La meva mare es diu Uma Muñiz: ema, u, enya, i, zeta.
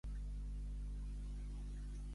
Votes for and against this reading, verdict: 1, 2, rejected